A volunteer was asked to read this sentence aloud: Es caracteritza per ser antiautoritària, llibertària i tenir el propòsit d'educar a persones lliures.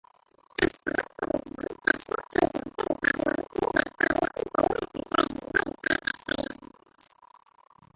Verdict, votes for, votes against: rejected, 0, 2